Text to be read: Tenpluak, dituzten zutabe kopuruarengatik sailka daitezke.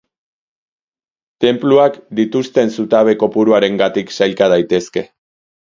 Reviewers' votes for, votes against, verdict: 2, 0, accepted